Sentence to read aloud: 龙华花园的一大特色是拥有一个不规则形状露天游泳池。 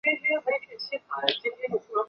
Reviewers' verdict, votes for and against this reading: rejected, 0, 3